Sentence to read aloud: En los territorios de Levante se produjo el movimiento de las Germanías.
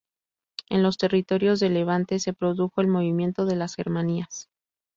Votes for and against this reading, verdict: 2, 0, accepted